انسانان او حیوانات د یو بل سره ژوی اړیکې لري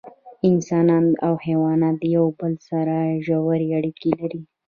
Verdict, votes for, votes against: accepted, 2, 0